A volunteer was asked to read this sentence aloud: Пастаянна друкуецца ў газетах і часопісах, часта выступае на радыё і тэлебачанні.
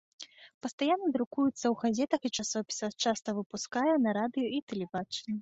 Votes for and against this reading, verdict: 0, 3, rejected